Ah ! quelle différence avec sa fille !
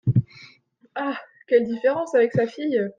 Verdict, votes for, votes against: accepted, 2, 0